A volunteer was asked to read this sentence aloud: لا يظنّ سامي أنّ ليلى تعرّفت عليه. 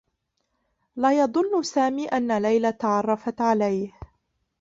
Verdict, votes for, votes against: rejected, 1, 2